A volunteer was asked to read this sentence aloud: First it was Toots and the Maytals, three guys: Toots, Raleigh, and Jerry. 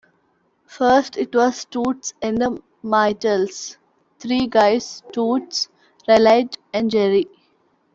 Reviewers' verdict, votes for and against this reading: accepted, 2, 1